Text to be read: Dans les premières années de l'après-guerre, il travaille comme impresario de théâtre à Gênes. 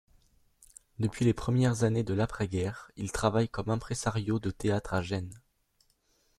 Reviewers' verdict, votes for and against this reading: rejected, 0, 3